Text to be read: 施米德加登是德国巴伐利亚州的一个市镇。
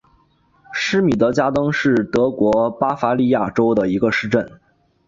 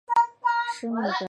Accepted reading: first